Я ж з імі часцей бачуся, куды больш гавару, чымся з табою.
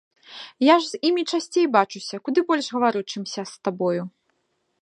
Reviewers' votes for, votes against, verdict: 3, 0, accepted